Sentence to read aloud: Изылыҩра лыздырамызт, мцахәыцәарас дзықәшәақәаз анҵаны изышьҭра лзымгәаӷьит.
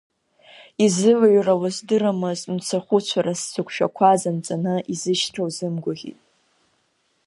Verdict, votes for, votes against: rejected, 1, 2